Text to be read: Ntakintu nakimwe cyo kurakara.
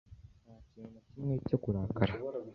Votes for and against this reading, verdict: 1, 2, rejected